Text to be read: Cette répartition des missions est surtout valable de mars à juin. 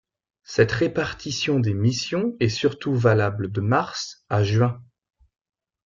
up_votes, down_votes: 2, 0